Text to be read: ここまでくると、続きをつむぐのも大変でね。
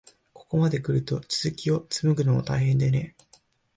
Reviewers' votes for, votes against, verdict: 4, 1, accepted